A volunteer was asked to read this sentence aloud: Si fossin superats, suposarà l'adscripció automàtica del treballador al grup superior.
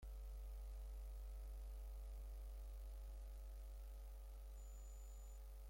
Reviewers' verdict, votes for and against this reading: rejected, 0, 2